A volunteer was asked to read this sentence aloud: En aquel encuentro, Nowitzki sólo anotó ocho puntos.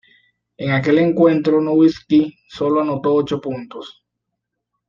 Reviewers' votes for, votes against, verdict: 2, 0, accepted